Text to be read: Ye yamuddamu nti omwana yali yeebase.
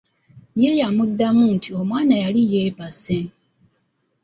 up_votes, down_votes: 2, 0